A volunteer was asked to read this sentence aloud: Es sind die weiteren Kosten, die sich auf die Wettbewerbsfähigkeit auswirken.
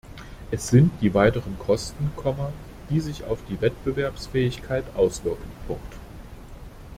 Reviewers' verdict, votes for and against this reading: rejected, 0, 2